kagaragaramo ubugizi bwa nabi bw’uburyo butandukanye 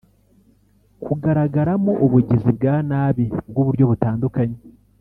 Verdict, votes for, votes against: rejected, 1, 2